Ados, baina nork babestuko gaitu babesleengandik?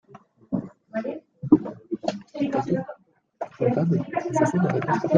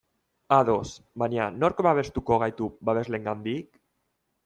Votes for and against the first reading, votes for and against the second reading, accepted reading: 0, 2, 2, 0, second